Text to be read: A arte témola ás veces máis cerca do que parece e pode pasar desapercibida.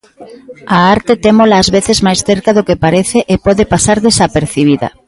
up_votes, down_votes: 1, 2